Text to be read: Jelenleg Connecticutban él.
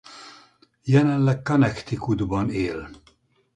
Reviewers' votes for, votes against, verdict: 2, 2, rejected